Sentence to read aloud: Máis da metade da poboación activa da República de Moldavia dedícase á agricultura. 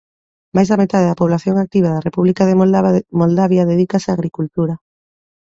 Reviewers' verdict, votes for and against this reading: rejected, 0, 2